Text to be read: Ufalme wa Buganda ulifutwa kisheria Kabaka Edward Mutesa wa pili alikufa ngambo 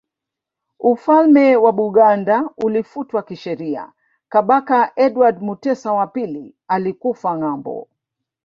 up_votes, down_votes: 1, 2